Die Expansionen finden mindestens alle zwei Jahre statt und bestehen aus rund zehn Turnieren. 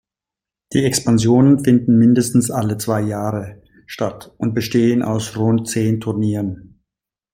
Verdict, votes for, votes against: accepted, 2, 0